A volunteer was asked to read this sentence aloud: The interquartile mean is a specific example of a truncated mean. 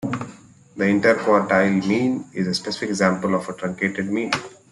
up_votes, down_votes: 0, 2